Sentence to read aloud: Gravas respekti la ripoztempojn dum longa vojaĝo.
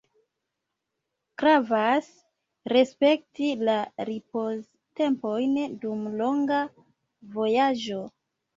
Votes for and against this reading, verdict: 2, 0, accepted